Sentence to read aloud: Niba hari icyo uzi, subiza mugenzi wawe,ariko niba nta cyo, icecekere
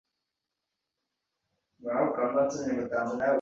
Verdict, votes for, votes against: rejected, 0, 2